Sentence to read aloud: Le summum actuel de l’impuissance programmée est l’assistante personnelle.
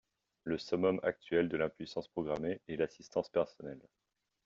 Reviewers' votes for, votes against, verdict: 2, 0, accepted